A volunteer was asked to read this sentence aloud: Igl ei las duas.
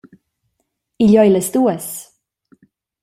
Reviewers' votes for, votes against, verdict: 2, 0, accepted